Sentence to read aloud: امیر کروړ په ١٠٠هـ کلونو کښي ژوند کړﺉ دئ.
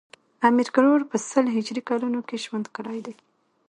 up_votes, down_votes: 0, 2